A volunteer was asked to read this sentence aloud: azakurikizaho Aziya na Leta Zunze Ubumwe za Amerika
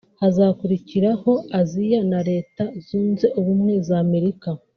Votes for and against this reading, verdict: 1, 2, rejected